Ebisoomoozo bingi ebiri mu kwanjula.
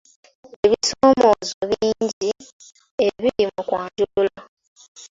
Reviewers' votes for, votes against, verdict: 3, 2, accepted